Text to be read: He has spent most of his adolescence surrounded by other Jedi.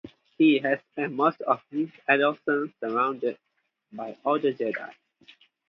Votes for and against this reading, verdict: 2, 2, rejected